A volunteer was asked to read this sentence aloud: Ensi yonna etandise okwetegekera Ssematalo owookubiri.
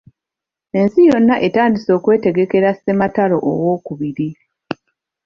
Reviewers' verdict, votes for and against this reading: accepted, 2, 1